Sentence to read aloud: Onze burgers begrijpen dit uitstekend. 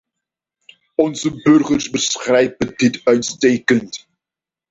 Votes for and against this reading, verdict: 0, 2, rejected